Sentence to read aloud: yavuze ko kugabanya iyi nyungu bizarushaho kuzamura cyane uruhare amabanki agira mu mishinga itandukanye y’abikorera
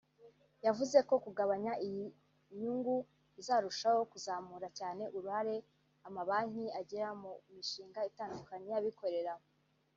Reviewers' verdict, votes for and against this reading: rejected, 1, 2